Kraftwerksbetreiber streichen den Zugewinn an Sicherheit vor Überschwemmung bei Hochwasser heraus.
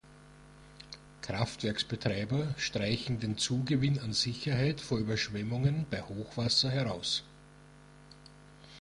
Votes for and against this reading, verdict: 1, 2, rejected